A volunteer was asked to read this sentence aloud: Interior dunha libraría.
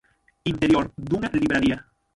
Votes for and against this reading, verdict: 0, 6, rejected